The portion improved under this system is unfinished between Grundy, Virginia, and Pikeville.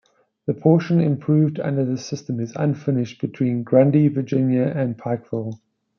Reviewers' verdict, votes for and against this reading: accepted, 2, 0